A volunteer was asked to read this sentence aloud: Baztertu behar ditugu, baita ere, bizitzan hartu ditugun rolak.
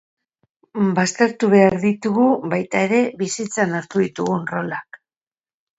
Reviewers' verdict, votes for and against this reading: accepted, 2, 0